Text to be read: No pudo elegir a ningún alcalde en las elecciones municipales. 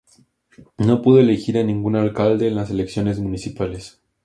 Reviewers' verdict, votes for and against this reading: accepted, 2, 0